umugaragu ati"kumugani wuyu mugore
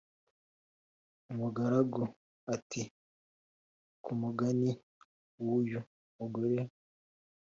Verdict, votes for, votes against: accepted, 2, 0